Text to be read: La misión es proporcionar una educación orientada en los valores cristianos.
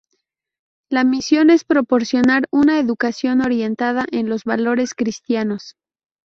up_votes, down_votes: 2, 0